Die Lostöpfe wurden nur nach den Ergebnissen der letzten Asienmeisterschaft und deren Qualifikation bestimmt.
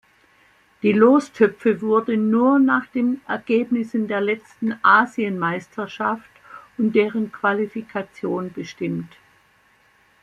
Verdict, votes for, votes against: accepted, 2, 0